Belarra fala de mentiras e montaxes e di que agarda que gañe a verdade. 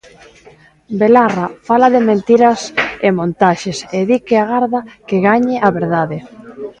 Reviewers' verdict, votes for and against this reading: accepted, 2, 1